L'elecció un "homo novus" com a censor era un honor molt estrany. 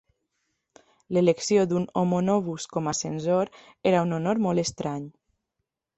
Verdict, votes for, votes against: rejected, 0, 2